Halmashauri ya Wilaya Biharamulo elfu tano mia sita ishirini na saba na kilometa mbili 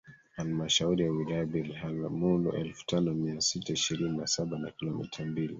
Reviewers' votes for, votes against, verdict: 0, 2, rejected